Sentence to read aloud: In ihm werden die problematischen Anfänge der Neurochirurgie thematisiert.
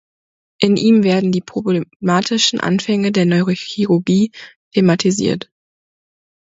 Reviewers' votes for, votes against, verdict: 0, 2, rejected